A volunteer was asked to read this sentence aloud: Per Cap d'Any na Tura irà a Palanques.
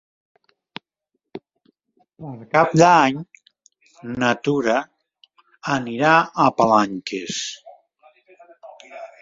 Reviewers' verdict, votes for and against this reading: rejected, 1, 2